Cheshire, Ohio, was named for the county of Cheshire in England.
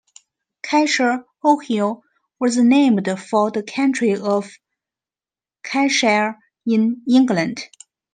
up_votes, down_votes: 1, 2